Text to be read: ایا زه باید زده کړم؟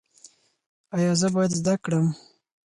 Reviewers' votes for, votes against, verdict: 4, 0, accepted